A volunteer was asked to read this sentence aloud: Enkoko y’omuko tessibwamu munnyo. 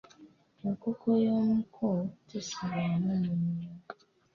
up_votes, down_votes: 1, 2